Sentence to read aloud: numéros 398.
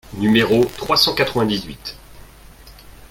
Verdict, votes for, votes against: rejected, 0, 2